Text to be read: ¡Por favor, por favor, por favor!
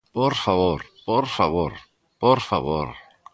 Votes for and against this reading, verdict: 2, 0, accepted